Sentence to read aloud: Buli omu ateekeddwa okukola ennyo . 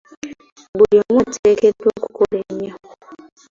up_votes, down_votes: 0, 2